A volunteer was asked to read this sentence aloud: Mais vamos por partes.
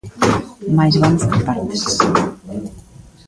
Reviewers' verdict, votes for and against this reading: accepted, 2, 1